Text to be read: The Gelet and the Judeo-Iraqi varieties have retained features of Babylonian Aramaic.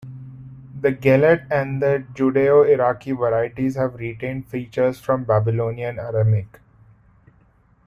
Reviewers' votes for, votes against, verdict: 0, 2, rejected